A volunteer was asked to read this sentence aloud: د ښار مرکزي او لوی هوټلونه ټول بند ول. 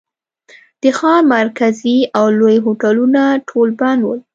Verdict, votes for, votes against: accepted, 2, 0